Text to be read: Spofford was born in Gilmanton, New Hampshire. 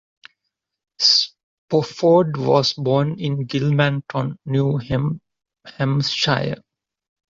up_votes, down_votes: 1, 2